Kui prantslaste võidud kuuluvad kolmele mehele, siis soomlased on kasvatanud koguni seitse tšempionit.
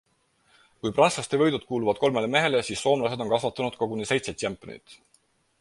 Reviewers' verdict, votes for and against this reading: accepted, 4, 0